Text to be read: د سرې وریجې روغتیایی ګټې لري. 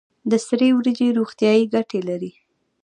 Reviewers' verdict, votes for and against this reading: accepted, 2, 1